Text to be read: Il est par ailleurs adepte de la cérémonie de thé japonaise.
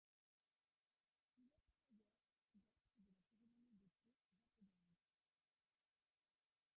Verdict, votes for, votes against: rejected, 0, 2